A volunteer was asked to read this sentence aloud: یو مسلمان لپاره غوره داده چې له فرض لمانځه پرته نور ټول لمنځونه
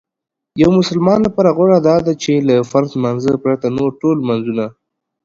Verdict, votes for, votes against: accepted, 2, 0